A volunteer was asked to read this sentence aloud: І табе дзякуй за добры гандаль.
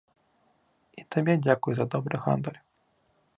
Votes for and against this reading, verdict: 2, 0, accepted